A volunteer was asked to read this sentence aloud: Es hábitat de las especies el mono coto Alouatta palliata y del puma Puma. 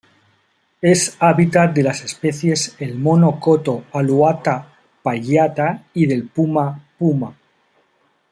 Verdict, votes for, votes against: accepted, 2, 0